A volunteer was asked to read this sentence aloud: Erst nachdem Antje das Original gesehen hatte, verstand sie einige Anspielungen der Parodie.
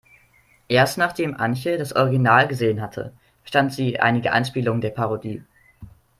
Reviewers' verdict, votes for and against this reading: accepted, 2, 1